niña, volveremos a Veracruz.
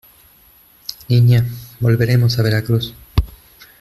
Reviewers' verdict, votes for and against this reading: rejected, 1, 2